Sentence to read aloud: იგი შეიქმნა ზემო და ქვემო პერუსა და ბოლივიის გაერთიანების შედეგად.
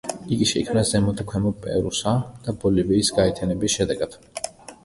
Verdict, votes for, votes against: rejected, 1, 2